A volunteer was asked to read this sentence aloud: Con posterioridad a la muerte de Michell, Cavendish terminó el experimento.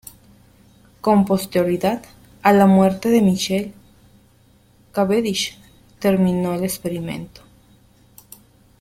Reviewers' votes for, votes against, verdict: 1, 2, rejected